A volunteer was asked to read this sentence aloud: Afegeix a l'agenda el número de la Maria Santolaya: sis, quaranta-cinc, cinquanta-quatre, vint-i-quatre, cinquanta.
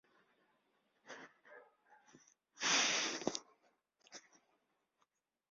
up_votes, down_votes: 0, 2